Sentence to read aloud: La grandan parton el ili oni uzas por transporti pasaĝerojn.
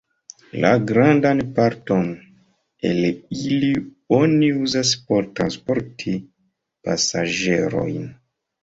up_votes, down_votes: 0, 2